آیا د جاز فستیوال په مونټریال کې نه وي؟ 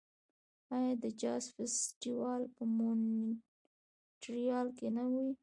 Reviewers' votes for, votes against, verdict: 0, 2, rejected